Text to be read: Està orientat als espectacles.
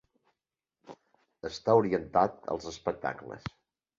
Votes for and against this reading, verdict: 4, 0, accepted